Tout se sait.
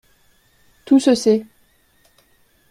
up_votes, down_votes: 2, 0